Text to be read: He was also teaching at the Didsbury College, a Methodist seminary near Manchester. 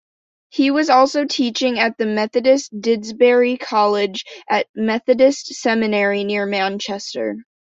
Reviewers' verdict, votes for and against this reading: rejected, 1, 2